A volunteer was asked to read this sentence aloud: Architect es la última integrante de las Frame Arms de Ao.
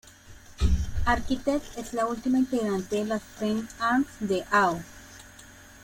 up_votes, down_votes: 2, 0